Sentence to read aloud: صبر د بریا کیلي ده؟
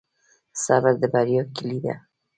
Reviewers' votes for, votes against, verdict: 0, 2, rejected